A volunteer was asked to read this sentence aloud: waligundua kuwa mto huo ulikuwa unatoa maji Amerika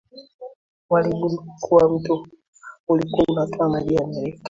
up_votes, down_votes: 0, 2